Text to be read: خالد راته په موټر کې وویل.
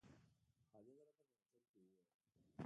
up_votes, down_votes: 0, 2